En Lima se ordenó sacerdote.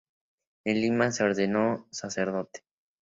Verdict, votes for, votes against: accepted, 2, 0